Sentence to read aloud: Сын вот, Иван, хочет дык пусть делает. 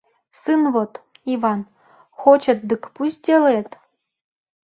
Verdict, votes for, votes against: accepted, 2, 0